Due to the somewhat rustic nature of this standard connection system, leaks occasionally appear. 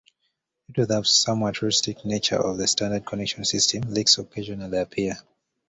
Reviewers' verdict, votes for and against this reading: accepted, 2, 0